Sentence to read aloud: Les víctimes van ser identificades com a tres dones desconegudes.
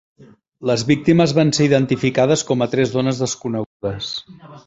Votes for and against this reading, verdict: 3, 1, accepted